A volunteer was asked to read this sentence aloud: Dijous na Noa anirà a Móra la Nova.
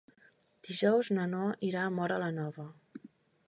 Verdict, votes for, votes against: rejected, 1, 2